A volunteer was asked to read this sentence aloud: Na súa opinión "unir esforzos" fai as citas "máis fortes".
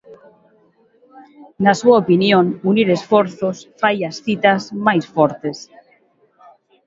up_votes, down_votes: 3, 0